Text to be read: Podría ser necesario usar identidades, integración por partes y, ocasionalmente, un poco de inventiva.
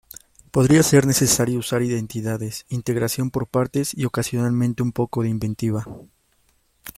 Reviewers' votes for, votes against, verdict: 2, 0, accepted